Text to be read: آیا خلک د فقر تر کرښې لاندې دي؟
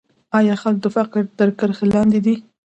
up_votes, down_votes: 2, 0